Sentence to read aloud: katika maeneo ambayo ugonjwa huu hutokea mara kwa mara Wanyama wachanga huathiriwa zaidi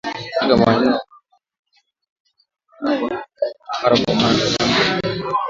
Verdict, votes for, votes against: rejected, 0, 2